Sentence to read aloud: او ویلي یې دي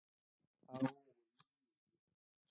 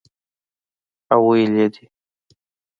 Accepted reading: second